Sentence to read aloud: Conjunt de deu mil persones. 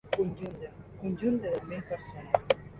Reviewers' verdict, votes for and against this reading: accepted, 2, 0